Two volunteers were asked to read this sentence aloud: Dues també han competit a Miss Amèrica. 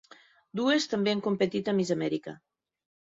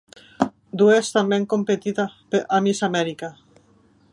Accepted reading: first